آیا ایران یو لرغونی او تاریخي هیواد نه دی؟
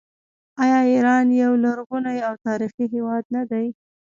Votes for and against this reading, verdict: 2, 0, accepted